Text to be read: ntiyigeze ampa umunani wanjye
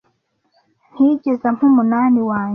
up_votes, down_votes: 2, 0